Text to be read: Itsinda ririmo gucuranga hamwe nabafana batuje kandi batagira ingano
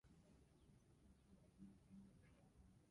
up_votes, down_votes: 0, 2